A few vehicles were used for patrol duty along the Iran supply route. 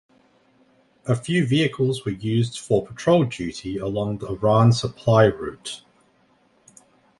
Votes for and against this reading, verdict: 1, 2, rejected